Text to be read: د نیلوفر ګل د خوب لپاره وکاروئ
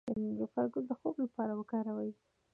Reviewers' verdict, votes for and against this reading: accepted, 2, 1